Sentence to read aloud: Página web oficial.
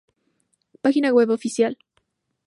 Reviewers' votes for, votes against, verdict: 2, 0, accepted